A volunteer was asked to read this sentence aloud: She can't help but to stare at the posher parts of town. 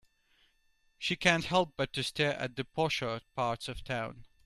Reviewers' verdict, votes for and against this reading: accepted, 2, 0